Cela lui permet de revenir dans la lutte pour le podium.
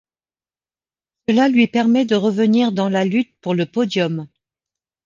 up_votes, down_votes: 1, 2